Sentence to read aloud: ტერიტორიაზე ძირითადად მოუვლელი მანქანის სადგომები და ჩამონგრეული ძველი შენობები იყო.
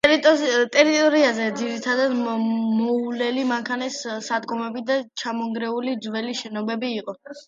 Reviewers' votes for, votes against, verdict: 1, 2, rejected